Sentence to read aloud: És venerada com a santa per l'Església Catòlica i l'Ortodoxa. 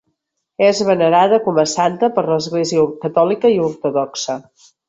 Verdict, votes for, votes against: rejected, 0, 2